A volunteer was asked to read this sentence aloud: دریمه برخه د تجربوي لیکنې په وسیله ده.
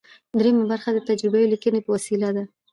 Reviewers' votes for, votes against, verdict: 2, 0, accepted